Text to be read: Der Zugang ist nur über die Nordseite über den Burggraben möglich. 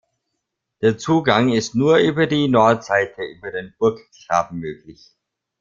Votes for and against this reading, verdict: 2, 1, accepted